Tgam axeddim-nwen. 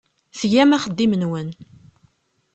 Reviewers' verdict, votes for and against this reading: accepted, 3, 0